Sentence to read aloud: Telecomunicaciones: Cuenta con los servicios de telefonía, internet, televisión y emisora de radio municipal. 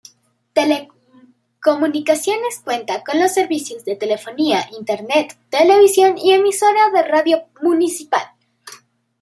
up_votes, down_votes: 1, 2